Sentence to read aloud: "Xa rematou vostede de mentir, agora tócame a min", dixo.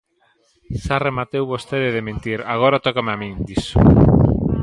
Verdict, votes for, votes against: rejected, 1, 2